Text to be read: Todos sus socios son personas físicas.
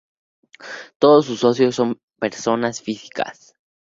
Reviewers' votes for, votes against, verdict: 2, 0, accepted